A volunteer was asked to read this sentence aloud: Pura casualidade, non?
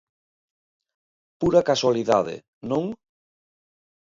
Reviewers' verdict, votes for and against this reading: accepted, 2, 0